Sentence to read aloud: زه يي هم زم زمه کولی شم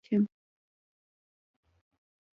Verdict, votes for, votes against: rejected, 0, 2